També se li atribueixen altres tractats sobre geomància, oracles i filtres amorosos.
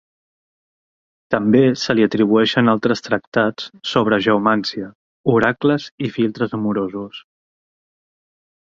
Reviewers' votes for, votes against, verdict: 2, 0, accepted